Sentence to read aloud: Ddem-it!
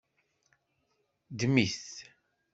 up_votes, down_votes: 2, 0